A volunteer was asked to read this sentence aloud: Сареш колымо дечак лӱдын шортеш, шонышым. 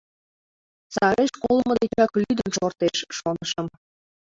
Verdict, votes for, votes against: rejected, 0, 2